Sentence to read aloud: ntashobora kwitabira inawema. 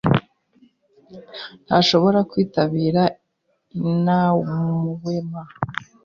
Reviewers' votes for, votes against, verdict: 2, 1, accepted